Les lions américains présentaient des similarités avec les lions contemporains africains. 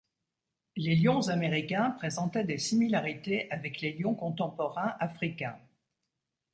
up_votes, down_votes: 2, 0